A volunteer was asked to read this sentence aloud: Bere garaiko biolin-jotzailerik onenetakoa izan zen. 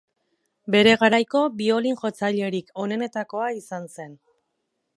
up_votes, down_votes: 0, 2